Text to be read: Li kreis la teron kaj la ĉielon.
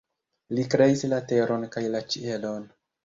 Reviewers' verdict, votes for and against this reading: accepted, 2, 0